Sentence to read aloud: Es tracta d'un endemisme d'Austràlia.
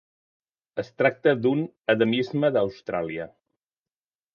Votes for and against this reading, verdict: 0, 2, rejected